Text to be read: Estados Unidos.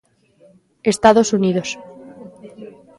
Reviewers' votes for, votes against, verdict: 4, 0, accepted